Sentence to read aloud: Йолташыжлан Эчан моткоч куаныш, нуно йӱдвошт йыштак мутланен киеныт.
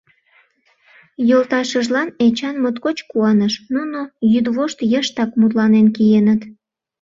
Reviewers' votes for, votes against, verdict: 2, 0, accepted